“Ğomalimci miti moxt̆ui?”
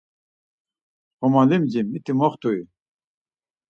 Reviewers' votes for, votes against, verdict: 4, 0, accepted